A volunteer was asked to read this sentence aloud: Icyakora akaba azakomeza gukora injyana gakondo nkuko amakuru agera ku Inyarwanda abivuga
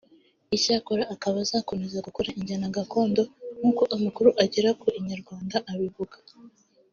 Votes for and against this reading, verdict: 2, 0, accepted